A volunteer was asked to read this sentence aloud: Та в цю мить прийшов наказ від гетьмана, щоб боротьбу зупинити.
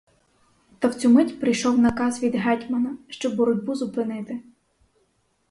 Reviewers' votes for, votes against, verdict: 4, 0, accepted